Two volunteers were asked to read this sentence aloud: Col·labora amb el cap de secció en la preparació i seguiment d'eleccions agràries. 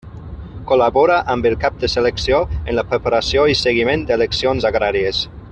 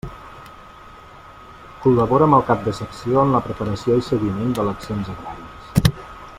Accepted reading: second